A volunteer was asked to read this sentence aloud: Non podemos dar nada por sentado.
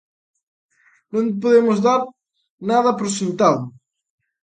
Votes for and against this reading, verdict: 2, 1, accepted